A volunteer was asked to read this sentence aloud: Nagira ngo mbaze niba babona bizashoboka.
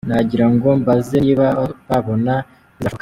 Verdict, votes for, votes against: rejected, 0, 3